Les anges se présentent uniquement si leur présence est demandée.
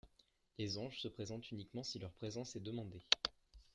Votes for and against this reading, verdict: 2, 1, accepted